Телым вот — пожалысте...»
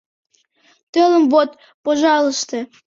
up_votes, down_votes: 2, 0